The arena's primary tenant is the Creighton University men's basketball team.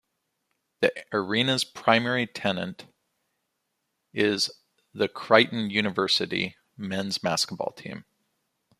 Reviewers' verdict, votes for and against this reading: accepted, 2, 1